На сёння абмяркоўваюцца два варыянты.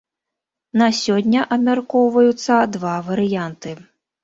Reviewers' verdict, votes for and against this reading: rejected, 1, 2